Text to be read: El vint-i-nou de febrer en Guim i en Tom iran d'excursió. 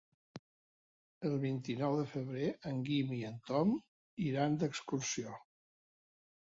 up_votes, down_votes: 4, 0